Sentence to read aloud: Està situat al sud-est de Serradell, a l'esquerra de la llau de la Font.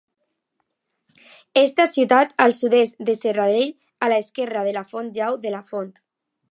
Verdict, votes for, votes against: rejected, 0, 2